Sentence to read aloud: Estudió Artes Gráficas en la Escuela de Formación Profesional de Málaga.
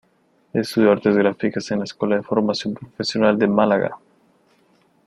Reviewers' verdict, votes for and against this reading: rejected, 0, 2